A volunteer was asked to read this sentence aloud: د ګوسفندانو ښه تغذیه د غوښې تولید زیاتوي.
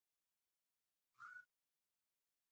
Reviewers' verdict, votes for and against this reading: rejected, 1, 2